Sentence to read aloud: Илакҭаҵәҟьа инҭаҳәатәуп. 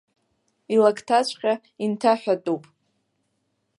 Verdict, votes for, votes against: accepted, 2, 0